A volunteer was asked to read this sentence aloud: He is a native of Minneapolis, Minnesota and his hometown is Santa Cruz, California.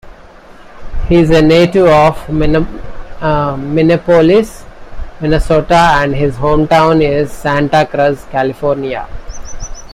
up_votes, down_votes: 0, 2